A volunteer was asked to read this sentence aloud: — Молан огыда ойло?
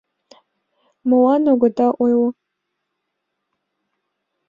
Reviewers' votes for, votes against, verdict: 2, 0, accepted